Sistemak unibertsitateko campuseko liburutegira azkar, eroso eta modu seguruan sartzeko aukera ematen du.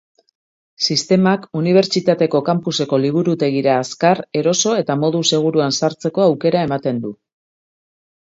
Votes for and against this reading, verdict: 2, 0, accepted